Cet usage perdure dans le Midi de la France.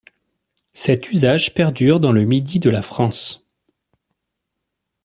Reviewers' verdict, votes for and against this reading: accepted, 2, 0